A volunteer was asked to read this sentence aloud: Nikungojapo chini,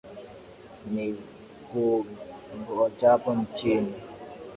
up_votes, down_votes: 0, 2